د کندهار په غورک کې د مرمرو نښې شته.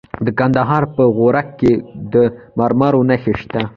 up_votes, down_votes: 2, 0